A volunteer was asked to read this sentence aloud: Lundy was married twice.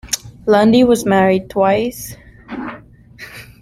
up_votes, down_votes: 2, 0